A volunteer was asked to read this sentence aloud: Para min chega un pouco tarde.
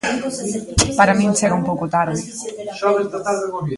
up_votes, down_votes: 0, 2